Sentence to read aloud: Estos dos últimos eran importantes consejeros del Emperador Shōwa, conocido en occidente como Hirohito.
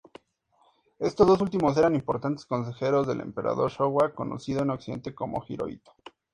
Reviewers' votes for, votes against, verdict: 2, 0, accepted